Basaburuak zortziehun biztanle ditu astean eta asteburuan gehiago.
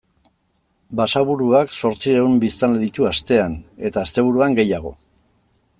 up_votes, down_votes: 2, 0